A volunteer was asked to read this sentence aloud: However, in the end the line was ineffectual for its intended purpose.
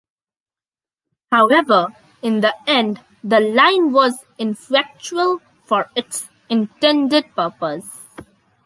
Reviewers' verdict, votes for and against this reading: rejected, 0, 2